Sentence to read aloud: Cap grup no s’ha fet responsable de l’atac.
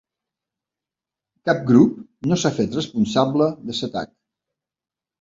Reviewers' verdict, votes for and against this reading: rejected, 0, 2